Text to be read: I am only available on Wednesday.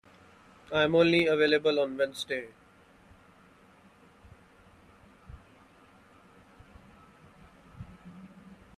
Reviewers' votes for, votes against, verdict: 2, 1, accepted